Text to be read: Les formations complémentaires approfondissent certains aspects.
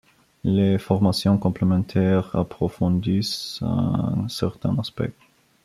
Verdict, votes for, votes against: rejected, 0, 2